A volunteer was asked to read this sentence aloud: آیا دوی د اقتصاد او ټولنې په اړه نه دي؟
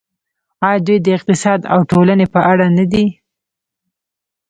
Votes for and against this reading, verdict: 1, 2, rejected